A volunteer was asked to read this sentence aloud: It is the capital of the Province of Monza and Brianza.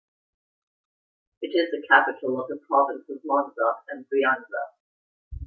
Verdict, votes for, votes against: rejected, 1, 2